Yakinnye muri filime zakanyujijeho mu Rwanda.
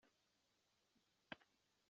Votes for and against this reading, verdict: 1, 2, rejected